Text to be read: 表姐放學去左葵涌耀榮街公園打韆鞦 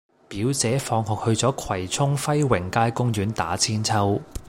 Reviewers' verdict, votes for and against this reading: rejected, 1, 2